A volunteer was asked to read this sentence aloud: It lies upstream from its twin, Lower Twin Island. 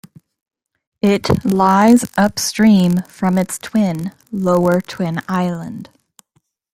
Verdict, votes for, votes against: accepted, 2, 0